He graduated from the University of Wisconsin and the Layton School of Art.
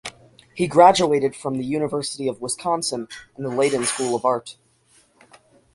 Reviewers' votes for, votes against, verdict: 6, 0, accepted